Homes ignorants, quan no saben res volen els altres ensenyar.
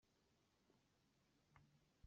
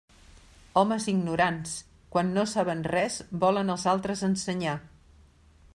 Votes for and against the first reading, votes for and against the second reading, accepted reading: 0, 2, 3, 0, second